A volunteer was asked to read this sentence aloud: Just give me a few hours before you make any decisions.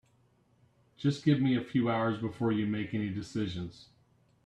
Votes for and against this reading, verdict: 3, 0, accepted